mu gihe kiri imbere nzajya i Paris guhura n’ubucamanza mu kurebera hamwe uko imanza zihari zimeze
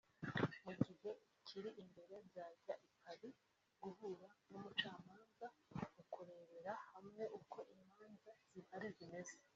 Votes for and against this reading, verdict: 0, 2, rejected